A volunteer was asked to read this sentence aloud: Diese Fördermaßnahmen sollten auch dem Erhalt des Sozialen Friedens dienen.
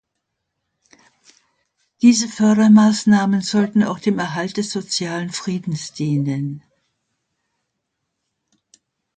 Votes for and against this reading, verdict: 2, 0, accepted